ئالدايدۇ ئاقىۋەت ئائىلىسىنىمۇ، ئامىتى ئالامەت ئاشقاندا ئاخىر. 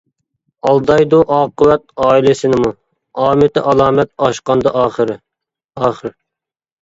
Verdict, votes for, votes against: rejected, 0, 2